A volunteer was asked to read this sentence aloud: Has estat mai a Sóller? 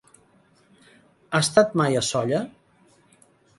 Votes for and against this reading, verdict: 0, 2, rejected